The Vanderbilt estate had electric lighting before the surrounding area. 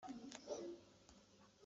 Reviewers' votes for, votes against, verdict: 0, 2, rejected